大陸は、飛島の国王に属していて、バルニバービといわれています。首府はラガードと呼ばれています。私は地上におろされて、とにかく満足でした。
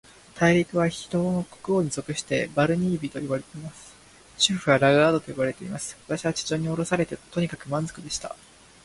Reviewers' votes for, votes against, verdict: 0, 2, rejected